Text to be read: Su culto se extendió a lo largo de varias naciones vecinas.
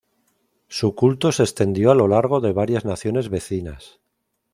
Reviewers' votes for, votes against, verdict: 2, 0, accepted